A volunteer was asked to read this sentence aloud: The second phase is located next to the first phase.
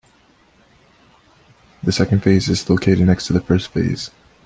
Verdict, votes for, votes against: accepted, 2, 0